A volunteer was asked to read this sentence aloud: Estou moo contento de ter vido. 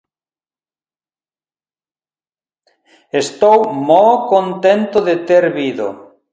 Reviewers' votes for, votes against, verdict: 2, 0, accepted